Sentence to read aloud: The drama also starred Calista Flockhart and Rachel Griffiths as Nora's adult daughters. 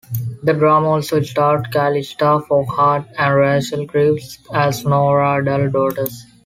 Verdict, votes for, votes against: rejected, 1, 2